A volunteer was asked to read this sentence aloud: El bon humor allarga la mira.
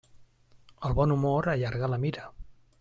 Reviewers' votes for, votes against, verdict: 3, 0, accepted